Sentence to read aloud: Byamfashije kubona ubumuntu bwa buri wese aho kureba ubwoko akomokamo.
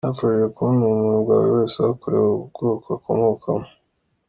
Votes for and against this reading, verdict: 2, 0, accepted